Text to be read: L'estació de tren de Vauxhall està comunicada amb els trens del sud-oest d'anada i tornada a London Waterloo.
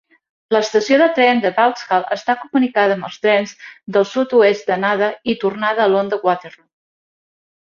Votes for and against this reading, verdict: 2, 0, accepted